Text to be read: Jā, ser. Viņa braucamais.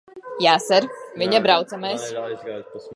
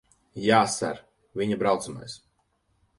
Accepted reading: second